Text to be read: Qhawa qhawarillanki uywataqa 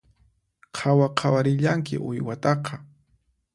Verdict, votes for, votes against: accepted, 4, 0